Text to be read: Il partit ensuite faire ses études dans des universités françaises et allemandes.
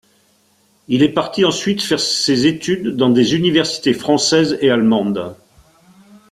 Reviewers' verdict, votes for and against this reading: rejected, 0, 2